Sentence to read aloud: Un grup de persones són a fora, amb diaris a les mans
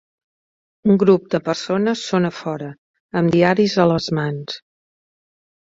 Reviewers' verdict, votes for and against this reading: accepted, 4, 0